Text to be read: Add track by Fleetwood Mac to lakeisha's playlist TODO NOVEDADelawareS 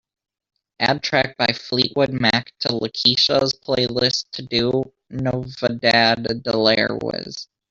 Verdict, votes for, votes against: rejected, 0, 2